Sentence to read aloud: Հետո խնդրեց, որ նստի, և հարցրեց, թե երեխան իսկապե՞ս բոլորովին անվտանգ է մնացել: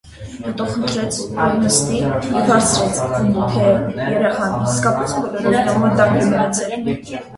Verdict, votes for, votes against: rejected, 0, 2